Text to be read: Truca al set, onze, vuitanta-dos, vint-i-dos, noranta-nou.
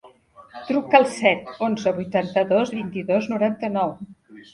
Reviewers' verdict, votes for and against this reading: accepted, 3, 1